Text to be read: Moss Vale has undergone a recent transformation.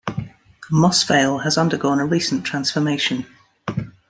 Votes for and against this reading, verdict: 2, 0, accepted